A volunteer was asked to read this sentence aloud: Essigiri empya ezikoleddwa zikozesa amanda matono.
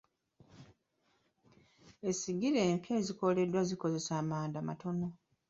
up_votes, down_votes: 2, 0